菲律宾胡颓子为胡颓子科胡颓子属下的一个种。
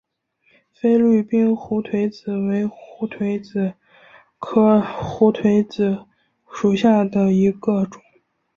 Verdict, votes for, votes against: accepted, 2, 1